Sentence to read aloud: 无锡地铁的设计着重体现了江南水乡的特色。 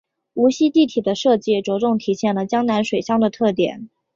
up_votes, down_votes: 2, 3